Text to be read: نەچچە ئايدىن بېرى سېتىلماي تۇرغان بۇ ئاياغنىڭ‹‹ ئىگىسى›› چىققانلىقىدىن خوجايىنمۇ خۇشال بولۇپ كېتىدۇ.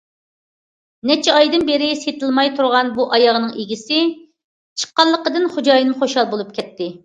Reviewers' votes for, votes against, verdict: 0, 2, rejected